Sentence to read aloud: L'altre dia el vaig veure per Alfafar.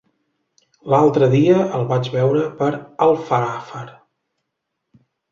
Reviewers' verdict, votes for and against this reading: rejected, 0, 2